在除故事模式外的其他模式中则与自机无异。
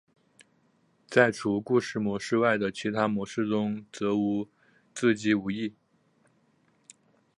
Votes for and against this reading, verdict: 4, 0, accepted